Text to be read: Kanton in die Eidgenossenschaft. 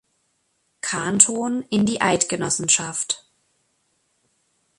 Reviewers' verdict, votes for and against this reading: accepted, 2, 0